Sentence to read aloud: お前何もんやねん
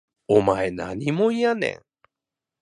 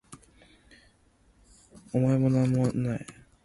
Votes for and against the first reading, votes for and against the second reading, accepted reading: 2, 1, 0, 2, first